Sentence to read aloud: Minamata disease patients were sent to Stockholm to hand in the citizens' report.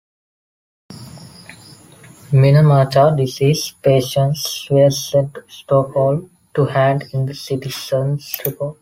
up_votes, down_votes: 2, 1